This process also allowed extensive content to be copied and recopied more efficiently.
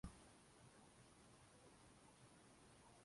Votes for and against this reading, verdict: 0, 2, rejected